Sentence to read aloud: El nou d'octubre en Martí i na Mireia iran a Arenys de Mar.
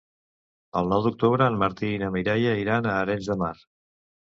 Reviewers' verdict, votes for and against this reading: accepted, 2, 0